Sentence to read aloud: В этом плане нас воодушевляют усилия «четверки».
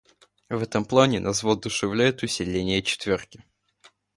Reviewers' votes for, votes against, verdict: 0, 2, rejected